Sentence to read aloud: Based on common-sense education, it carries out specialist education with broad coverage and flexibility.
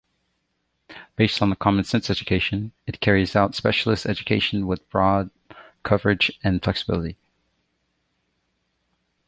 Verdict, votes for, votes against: accepted, 2, 1